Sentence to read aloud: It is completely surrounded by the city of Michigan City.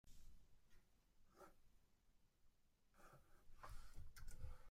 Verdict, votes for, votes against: rejected, 0, 2